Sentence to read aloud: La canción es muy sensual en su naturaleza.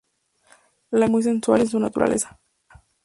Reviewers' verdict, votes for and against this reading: rejected, 2, 2